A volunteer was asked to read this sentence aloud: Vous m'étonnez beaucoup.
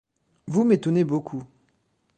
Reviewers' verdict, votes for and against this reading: accepted, 2, 0